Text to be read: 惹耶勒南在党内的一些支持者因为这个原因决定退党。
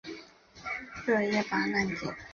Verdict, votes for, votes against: rejected, 0, 2